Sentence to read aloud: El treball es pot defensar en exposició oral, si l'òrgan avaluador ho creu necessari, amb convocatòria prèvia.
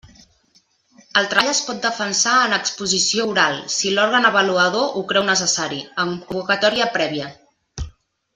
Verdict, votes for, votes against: rejected, 1, 2